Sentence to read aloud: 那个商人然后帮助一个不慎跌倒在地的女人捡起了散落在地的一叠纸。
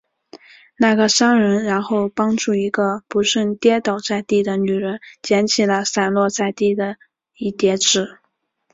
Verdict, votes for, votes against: accepted, 6, 0